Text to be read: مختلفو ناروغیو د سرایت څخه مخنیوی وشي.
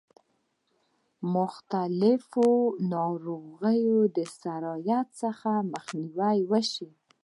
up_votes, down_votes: 2, 0